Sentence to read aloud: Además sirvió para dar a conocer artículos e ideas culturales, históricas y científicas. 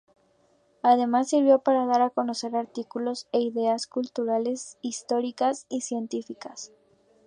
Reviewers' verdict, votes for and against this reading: accepted, 2, 0